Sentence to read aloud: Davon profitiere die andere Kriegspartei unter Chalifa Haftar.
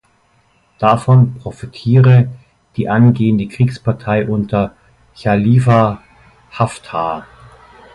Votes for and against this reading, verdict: 0, 2, rejected